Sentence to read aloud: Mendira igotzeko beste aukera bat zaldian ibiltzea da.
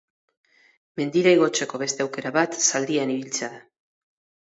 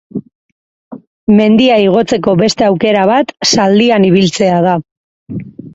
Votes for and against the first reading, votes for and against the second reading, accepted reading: 4, 0, 2, 4, first